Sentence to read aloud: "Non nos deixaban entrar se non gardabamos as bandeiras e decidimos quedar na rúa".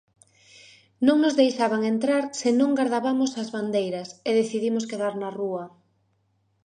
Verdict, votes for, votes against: accepted, 2, 0